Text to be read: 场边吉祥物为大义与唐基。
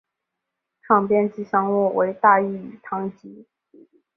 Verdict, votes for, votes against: accepted, 3, 0